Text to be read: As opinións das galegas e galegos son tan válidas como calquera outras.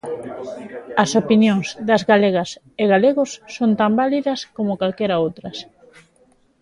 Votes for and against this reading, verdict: 2, 0, accepted